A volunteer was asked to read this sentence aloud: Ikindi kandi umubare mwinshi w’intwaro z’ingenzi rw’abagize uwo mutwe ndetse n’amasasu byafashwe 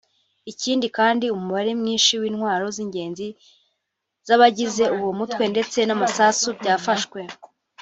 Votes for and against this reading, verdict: 0, 2, rejected